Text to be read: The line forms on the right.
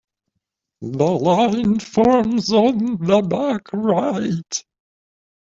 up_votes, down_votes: 0, 2